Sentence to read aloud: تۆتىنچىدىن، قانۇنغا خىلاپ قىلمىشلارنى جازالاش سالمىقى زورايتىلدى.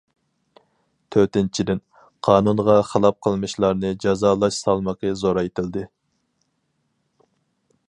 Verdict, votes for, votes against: accepted, 4, 0